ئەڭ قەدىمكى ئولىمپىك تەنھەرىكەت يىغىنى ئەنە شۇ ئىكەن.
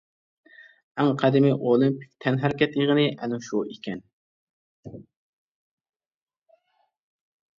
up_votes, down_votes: 0, 2